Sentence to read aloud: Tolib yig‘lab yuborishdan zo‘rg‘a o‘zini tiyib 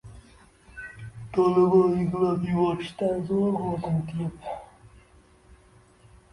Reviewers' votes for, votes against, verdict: 0, 2, rejected